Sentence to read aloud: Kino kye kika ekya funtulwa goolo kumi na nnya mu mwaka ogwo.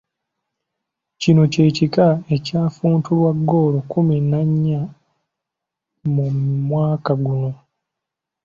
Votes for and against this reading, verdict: 1, 2, rejected